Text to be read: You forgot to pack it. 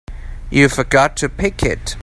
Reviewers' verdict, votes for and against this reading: rejected, 0, 2